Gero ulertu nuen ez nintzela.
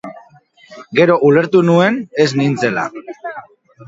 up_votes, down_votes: 2, 1